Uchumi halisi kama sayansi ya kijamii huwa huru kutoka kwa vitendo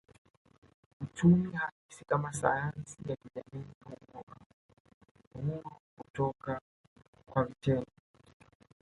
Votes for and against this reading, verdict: 0, 2, rejected